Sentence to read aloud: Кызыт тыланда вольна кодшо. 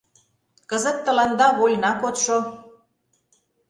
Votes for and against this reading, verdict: 2, 0, accepted